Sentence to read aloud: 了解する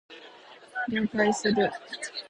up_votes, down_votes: 0, 2